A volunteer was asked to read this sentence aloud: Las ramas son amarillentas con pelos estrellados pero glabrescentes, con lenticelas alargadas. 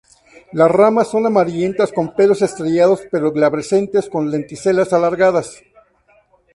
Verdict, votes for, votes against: accepted, 2, 0